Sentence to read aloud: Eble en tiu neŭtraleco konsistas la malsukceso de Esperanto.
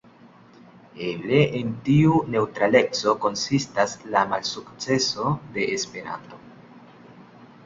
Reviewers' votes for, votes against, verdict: 3, 0, accepted